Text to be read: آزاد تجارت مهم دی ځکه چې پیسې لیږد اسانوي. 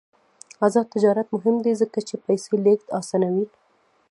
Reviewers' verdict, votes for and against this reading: rejected, 1, 2